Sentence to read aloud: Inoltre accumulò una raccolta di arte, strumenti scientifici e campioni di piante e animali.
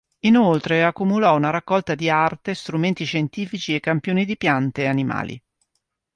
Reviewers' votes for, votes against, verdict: 3, 0, accepted